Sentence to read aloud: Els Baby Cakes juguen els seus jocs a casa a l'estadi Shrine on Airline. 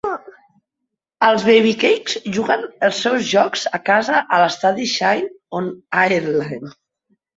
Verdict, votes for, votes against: rejected, 0, 2